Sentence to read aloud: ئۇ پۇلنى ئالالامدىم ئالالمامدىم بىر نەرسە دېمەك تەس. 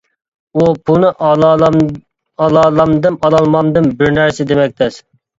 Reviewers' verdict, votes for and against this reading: rejected, 1, 2